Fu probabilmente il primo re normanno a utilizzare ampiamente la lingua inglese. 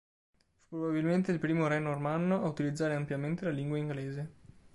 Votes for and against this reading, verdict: 1, 2, rejected